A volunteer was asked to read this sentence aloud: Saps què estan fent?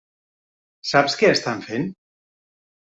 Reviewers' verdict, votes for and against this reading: accepted, 4, 0